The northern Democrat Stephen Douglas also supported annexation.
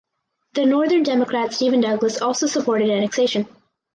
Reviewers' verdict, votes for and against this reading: accepted, 4, 0